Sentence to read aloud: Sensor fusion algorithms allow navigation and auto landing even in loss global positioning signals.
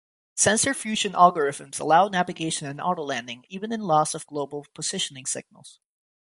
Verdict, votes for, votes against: rejected, 2, 4